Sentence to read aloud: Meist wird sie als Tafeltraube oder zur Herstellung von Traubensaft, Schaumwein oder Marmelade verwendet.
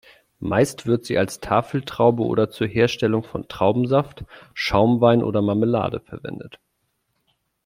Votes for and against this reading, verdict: 2, 0, accepted